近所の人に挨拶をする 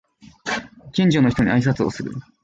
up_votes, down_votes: 2, 0